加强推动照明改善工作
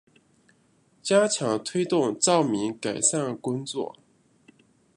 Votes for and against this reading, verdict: 2, 0, accepted